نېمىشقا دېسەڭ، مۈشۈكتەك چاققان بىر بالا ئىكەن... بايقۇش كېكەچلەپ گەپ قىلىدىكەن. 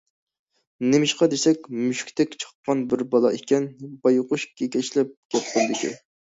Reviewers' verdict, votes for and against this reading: rejected, 0, 2